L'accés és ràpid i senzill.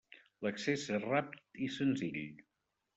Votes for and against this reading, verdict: 1, 2, rejected